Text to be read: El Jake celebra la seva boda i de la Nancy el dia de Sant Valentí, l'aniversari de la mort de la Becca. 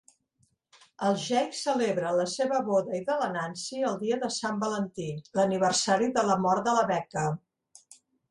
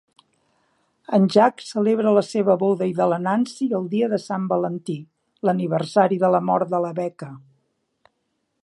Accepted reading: first